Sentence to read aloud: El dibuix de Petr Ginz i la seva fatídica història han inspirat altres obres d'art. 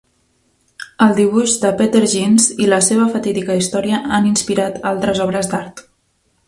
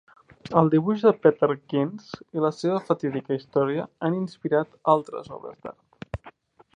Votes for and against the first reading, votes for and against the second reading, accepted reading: 2, 0, 1, 2, first